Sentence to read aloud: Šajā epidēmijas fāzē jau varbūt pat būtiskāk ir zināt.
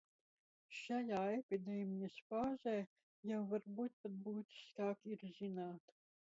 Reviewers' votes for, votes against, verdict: 1, 2, rejected